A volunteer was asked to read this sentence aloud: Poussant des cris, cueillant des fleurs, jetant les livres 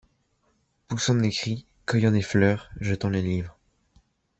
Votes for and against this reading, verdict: 2, 0, accepted